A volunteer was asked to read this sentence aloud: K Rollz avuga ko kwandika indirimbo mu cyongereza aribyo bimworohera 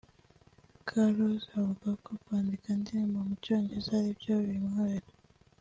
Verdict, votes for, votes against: accepted, 2, 0